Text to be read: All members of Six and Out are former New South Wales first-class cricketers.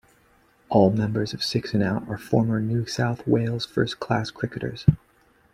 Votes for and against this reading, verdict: 2, 0, accepted